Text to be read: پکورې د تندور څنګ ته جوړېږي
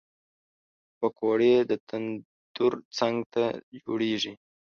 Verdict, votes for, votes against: rejected, 0, 2